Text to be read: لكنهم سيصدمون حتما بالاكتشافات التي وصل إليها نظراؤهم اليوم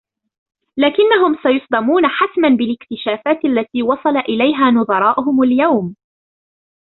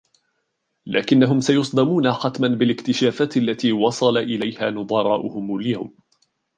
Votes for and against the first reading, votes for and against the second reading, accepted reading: 3, 0, 0, 2, first